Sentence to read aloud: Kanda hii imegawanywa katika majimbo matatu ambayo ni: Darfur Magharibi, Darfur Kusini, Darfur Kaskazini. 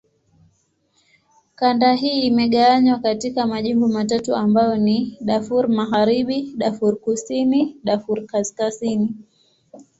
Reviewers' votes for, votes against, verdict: 3, 0, accepted